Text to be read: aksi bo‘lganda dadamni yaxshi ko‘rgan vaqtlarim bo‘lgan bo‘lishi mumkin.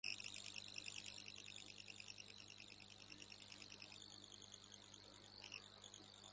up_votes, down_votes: 0, 2